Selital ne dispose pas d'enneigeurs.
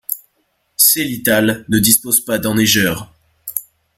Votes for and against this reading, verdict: 2, 0, accepted